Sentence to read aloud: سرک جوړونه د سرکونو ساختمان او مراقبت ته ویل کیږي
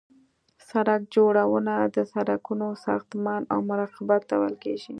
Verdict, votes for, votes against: accepted, 2, 0